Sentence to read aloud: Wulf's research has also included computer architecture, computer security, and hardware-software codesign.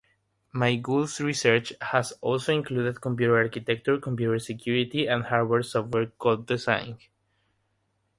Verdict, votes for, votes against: rejected, 3, 3